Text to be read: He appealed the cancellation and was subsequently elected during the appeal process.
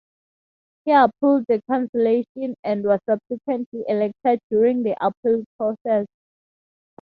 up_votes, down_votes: 2, 0